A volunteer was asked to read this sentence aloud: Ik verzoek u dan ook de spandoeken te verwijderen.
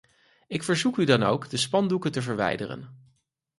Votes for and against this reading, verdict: 4, 0, accepted